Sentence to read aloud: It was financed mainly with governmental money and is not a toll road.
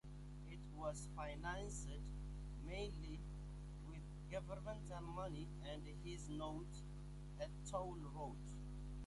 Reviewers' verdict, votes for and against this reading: rejected, 0, 2